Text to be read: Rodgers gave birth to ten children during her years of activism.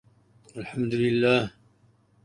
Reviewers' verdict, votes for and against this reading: rejected, 0, 2